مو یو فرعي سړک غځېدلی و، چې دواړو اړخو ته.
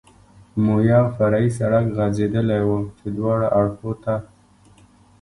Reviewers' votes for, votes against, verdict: 2, 0, accepted